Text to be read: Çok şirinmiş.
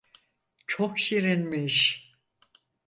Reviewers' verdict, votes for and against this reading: accepted, 4, 0